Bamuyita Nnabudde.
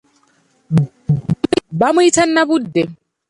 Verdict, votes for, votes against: accepted, 2, 1